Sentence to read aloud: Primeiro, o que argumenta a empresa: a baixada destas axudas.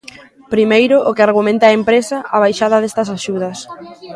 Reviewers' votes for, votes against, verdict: 0, 2, rejected